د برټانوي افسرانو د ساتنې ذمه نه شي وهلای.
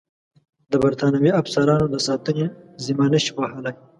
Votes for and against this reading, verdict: 2, 0, accepted